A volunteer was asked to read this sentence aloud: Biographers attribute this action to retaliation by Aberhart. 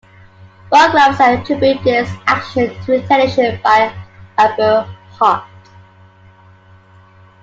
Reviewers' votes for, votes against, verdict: 1, 2, rejected